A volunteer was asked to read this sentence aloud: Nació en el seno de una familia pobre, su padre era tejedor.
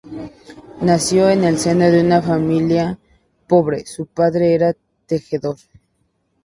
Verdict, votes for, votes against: rejected, 0, 2